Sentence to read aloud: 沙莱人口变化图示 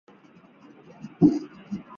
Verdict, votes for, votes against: rejected, 0, 3